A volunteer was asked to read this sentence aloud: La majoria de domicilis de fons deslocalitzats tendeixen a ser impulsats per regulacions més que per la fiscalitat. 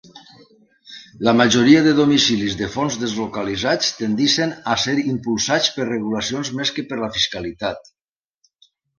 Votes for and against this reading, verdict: 3, 0, accepted